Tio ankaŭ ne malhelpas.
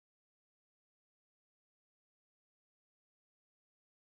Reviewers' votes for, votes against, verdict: 1, 2, rejected